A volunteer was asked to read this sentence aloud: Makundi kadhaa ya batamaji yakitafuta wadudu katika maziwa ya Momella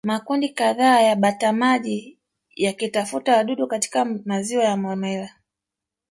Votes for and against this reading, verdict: 1, 2, rejected